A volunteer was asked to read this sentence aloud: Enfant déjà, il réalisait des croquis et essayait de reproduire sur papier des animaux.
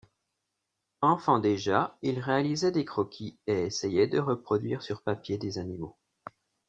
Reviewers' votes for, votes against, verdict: 2, 0, accepted